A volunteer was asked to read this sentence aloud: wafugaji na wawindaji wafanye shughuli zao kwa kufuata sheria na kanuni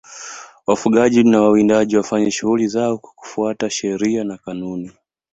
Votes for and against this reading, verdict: 2, 1, accepted